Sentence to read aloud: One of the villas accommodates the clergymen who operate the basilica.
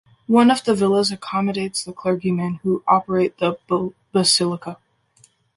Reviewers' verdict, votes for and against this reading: rejected, 1, 2